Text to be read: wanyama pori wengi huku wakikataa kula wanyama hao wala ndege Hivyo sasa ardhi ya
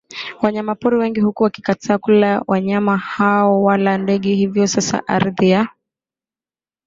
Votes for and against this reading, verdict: 2, 0, accepted